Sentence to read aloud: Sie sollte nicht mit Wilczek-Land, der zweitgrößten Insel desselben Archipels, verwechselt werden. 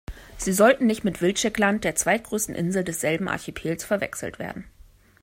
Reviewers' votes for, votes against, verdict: 1, 2, rejected